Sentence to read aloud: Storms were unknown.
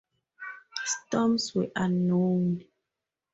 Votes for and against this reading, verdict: 2, 0, accepted